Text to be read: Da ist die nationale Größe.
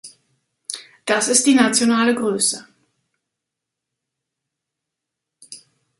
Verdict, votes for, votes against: rejected, 1, 2